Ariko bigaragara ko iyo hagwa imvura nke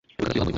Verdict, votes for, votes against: rejected, 0, 2